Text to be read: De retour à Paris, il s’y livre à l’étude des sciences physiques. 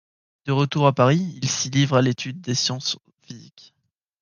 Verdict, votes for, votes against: rejected, 1, 2